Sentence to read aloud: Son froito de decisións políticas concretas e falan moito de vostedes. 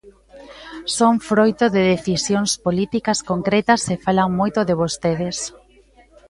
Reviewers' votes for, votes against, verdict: 1, 2, rejected